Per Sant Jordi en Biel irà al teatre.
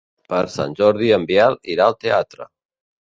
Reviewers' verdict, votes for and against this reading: accepted, 2, 0